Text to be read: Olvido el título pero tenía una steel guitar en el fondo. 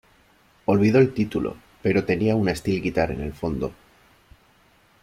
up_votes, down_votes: 2, 0